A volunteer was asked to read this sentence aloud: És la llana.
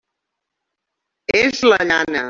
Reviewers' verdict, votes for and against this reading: accepted, 3, 0